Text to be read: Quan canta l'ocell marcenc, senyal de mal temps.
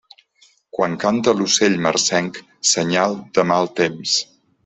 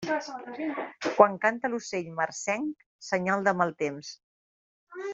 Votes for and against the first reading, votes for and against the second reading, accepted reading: 2, 0, 1, 2, first